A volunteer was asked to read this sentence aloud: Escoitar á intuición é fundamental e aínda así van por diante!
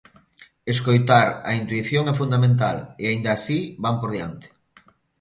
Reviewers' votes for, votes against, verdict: 2, 0, accepted